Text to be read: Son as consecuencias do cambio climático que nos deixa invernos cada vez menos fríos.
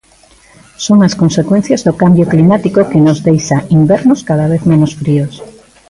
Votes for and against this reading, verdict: 2, 1, accepted